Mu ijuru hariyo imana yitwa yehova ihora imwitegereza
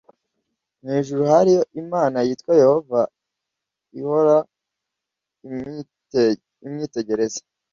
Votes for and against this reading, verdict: 1, 2, rejected